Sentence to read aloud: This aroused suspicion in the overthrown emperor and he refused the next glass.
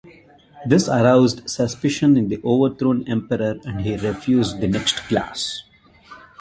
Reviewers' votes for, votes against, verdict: 1, 2, rejected